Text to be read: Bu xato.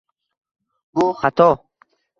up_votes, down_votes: 2, 0